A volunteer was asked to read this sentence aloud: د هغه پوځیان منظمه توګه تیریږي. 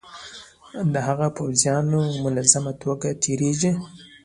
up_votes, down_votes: 2, 0